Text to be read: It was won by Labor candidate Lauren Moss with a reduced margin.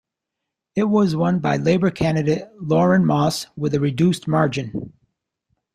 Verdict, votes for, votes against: accepted, 2, 0